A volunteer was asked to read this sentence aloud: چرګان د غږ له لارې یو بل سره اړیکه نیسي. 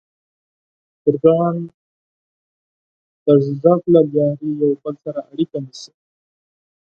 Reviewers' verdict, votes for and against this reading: rejected, 0, 4